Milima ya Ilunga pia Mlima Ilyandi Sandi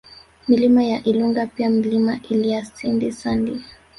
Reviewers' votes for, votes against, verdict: 3, 2, accepted